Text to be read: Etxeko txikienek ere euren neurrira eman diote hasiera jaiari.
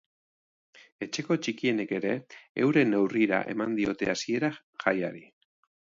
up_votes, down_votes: 2, 0